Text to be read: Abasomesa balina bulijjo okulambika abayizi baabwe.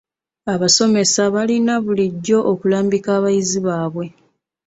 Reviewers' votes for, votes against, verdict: 0, 2, rejected